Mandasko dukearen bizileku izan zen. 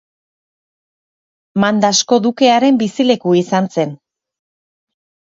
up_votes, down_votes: 3, 0